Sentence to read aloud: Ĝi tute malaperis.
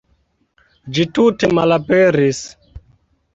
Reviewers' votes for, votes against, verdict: 2, 0, accepted